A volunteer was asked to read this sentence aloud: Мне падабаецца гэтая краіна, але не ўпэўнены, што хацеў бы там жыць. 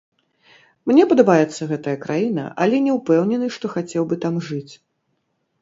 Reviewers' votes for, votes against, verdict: 0, 2, rejected